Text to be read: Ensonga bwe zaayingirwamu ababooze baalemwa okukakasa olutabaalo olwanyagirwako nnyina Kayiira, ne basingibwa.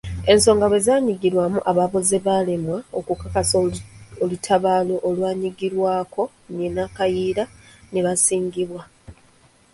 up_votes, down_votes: 0, 2